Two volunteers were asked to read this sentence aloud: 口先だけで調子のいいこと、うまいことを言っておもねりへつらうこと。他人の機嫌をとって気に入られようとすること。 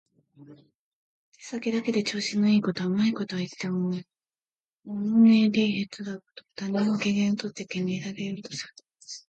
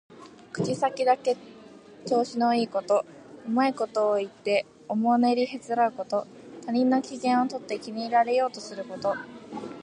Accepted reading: second